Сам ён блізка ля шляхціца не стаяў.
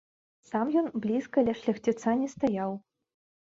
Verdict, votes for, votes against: rejected, 0, 2